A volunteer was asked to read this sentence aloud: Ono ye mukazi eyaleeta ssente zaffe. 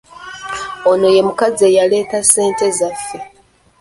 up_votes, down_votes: 1, 2